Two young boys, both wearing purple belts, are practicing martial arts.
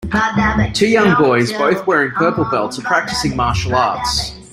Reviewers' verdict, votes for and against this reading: rejected, 1, 2